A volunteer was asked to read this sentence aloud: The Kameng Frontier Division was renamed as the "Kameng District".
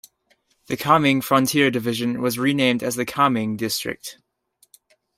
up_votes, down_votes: 2, 0